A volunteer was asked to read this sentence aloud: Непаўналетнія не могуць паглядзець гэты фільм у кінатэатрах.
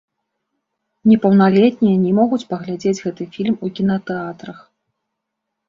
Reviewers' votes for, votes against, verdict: 1, 2, rejected